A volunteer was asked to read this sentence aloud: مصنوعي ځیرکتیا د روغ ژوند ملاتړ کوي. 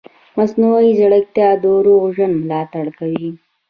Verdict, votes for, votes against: accepted, 2, 0